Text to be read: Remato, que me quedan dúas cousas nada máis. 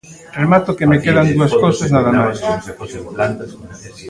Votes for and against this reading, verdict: 1, 2, rejected